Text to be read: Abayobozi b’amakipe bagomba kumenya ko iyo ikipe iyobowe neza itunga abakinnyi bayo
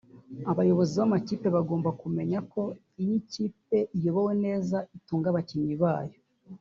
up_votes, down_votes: 2, 3